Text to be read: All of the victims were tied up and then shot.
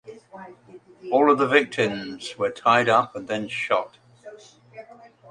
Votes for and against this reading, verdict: 0, 2, rejected